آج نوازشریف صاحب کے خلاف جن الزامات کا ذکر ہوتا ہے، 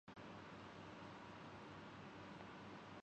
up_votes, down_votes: 0, 2